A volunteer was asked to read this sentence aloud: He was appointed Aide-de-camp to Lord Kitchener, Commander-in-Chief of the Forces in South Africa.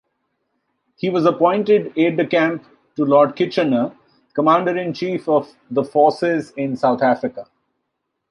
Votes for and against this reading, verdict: 2, 0, accepted